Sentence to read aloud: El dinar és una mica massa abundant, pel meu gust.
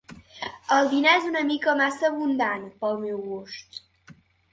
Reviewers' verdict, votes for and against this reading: accepted, 3, 0